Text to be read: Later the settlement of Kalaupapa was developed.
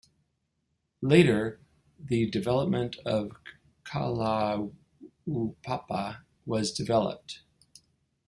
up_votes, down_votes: 1, 5